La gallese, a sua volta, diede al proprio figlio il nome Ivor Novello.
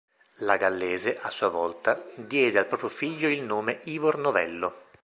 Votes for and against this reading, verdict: 2, 0, accepted